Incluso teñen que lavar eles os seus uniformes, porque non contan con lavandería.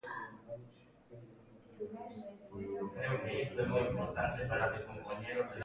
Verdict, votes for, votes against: rejected, 0, 2